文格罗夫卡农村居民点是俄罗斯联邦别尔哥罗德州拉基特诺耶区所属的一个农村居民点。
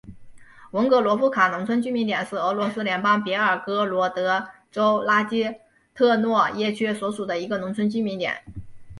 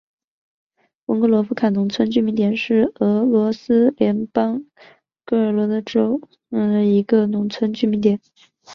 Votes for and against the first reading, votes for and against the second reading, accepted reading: 2, 0, 1, 2, first